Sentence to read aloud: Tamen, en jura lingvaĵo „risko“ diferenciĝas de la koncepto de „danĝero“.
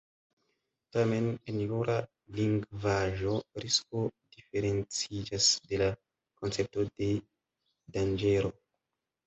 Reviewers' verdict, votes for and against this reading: accepted, 2, 1